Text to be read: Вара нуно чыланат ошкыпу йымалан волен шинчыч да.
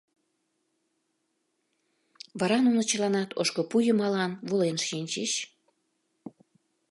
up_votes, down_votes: 0, 2